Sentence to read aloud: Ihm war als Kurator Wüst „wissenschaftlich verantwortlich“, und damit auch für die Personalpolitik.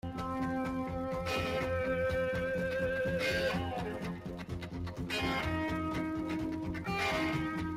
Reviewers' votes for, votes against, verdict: 0, 2, rejected